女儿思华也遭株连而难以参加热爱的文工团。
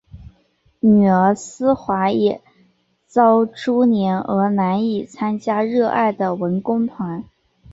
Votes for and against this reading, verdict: 4, 0, accepted